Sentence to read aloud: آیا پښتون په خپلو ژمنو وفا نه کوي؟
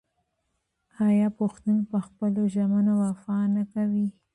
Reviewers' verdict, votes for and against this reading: rejected, 0, 2